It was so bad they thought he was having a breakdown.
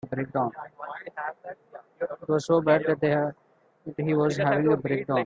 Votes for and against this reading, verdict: 0, 2, rejected